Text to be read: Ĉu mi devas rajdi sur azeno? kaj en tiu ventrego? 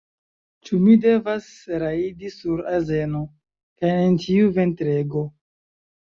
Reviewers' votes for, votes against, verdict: 1, 2, rejected